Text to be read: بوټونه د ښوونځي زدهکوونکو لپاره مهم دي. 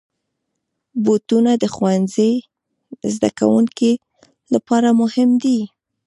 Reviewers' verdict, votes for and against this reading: accepted, 2, 0